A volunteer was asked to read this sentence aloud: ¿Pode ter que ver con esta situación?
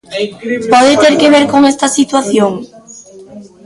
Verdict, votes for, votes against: rejected, 0, 2